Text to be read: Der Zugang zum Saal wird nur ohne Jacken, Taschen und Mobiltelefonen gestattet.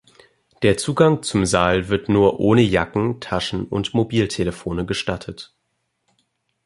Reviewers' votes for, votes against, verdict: 0, 2, rejected